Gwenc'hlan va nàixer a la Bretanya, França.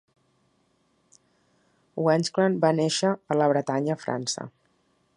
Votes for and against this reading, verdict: 2, 0, accepted